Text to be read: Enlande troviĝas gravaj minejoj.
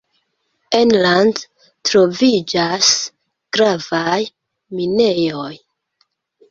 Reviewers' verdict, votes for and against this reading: accepted, 2, 1